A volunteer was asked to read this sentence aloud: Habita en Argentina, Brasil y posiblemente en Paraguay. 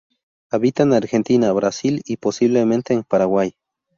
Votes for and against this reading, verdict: 0, 2, rejected